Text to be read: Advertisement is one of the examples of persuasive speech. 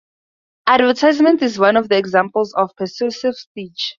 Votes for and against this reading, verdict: 2, 0, accepted